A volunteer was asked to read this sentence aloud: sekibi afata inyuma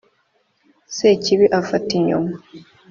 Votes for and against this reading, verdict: 3, 1, accepted